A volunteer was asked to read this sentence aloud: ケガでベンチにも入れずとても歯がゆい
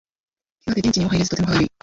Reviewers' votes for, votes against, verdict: 0, 2, rejected